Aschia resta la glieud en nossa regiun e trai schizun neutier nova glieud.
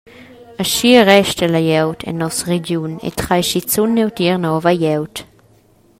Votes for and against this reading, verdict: 2, 1, accepted